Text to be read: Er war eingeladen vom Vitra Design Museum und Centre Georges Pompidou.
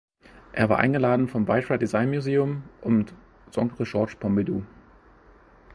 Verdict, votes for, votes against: rejected, 1, 2